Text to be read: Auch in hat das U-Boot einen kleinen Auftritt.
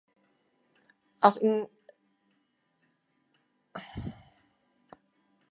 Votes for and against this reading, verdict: 0, 2, rejected